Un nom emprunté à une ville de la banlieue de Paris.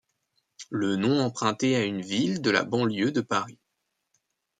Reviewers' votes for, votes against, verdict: 1, 2, rejected